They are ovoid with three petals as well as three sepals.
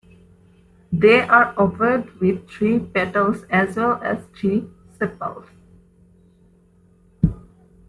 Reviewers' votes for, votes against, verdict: 1, 2, rejected